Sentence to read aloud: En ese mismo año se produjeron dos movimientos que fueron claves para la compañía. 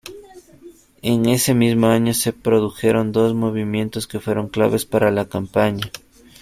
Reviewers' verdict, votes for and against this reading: rejected, 1, 2